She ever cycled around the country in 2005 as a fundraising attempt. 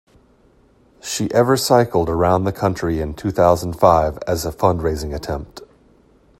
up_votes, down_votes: 0, 2